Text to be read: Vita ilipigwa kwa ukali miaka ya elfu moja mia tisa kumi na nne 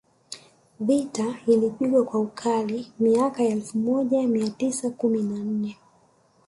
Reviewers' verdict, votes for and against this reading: accepted, 2, 1